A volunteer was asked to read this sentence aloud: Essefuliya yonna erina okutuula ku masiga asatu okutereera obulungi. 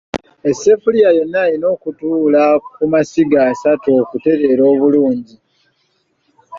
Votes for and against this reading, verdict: 2, 0, accepted